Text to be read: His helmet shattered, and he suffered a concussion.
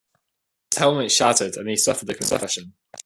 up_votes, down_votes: 2, 0